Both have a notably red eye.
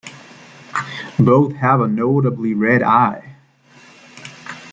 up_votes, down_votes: 2, 0